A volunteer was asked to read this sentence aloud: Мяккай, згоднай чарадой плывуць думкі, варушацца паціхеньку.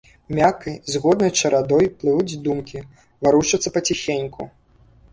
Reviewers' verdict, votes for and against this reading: accepted, 2, 0